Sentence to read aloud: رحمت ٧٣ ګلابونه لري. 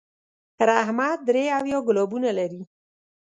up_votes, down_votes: 0, 2